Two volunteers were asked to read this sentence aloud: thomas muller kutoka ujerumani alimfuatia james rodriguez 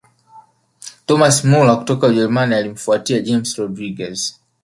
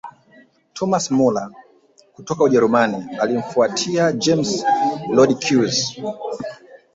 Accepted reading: first